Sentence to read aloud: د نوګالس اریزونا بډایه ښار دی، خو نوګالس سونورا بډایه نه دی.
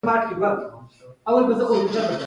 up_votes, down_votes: 0, 2